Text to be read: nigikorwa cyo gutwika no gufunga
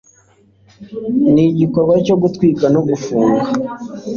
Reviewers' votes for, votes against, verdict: 2, 0, accepted